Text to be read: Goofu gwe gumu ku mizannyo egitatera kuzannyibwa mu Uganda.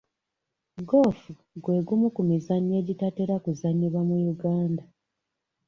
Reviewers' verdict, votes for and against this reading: accepted, 3, 0